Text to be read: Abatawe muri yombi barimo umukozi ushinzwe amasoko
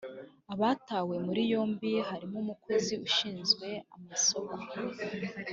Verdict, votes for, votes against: rejected, 0, 2